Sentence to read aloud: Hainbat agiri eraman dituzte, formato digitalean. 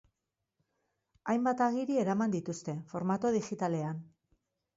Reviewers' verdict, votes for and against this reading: accepted, 2, 0